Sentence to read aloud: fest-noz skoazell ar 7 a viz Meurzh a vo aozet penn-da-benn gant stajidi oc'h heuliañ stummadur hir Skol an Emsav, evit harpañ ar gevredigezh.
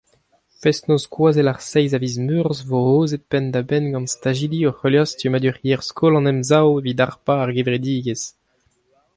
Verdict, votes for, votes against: rejected, 0, 2